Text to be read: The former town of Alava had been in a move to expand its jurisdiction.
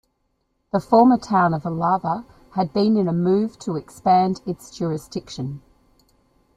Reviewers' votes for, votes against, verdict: 2, 0, accepted